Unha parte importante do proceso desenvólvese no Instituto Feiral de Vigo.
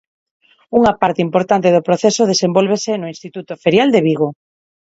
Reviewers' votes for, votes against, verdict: 0, 4, rejected